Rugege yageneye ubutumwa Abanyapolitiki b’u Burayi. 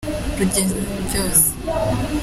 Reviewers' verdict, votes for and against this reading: rejected, 0, 2